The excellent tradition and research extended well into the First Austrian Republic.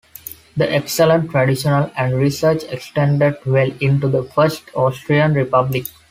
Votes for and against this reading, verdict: 2, 0, accepted